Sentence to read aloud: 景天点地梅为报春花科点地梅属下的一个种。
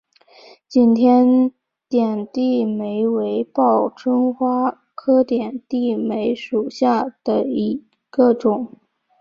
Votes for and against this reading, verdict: 2, 0, accepted